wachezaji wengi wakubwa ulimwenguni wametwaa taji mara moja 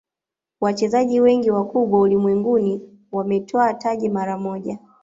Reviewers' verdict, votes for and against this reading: accepted, 2, 0